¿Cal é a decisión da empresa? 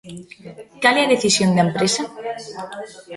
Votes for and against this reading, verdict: 2, 3, rejected